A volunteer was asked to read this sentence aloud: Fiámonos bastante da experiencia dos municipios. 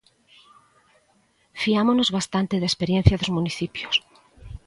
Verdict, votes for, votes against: accepted, 2, 0